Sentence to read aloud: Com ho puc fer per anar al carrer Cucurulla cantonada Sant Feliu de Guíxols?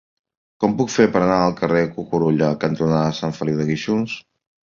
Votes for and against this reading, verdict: 1, 2, rejected